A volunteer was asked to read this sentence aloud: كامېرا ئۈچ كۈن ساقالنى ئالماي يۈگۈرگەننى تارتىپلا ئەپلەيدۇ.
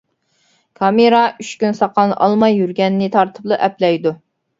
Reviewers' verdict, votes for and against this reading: accepted, 2, 0